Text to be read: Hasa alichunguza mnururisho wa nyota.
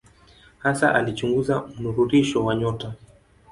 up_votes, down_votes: 2, 0